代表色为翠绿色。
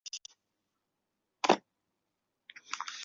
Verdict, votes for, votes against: rejected, 0, 4